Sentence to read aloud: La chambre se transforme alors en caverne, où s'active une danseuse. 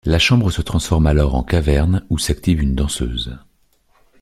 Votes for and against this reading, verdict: 2, 0, accepted